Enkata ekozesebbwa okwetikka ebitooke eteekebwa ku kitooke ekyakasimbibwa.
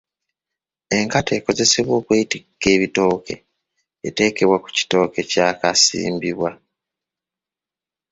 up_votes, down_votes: 1, 2